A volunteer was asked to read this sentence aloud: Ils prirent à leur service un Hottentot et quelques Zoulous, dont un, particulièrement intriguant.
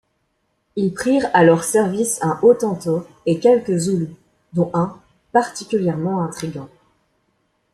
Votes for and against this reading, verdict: 2, 0, accepted